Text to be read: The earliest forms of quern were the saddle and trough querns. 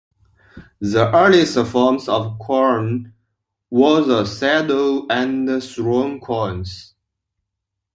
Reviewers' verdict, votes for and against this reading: rejected, 0, 2